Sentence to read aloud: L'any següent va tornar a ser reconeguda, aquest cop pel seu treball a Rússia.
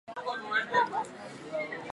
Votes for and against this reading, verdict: 0, 4, rejected